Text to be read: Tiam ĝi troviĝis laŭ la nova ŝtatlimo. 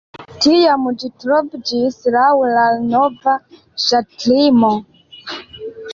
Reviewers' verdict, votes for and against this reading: rejected, 0, 2